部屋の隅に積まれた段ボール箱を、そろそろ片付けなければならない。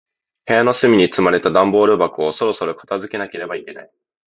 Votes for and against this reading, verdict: 1, 2, rejected